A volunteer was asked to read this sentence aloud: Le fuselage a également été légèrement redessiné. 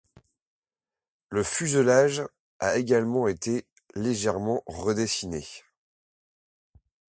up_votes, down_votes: 2, 0